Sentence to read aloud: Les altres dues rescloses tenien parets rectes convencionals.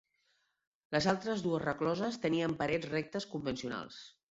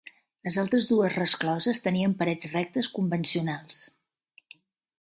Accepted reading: second